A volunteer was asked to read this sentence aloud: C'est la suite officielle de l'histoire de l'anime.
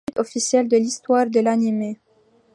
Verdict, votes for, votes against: rejected, 0, 2